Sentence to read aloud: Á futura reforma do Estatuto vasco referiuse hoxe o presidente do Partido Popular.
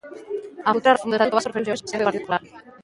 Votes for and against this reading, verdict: 0, 2, rejected